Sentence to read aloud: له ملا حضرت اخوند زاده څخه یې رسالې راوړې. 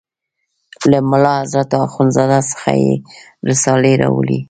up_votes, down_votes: 2, 0